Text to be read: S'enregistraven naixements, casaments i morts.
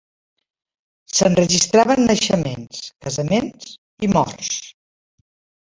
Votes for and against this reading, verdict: 0, 2, rejected